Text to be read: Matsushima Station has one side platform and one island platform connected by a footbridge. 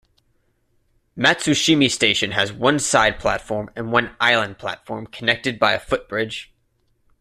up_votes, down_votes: 3, 0